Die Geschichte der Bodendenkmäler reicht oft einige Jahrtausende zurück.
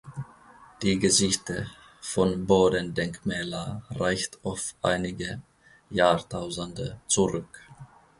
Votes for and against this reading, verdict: 0, 2, rejected